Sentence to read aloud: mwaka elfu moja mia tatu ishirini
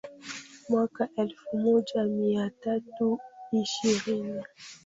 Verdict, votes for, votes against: rejected, 0, 2